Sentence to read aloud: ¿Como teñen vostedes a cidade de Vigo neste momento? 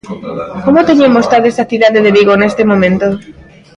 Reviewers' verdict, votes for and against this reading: rejected, 0, 3